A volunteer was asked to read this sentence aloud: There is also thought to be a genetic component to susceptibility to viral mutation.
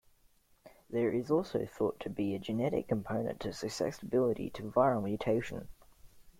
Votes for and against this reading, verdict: 0, 2, rejected